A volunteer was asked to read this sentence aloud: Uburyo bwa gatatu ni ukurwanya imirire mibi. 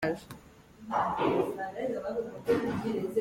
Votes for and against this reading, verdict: 1, 2, rejected